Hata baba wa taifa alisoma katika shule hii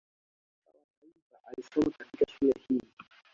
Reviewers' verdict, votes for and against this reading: rejected, 1, 2